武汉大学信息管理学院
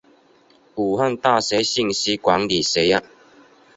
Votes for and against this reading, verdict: 2, 0, accepted